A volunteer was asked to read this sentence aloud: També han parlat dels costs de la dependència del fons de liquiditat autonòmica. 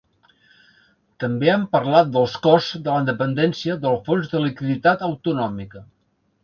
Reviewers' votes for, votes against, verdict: 2, 0, accepted